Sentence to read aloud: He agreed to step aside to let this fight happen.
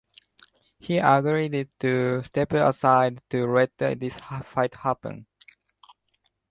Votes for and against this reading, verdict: 1, 2, rejected